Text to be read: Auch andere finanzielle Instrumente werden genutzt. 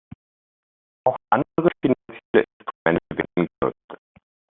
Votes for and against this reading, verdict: 0, 2, rejected